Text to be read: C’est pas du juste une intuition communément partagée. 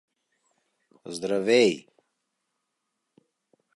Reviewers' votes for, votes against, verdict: 0, 2, rejected